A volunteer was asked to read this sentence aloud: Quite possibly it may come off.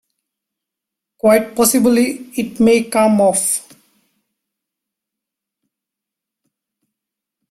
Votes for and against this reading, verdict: 0, 2, rejected